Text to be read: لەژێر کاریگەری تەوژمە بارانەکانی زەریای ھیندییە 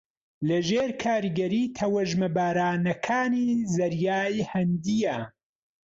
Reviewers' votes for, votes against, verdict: 2, 0, accepted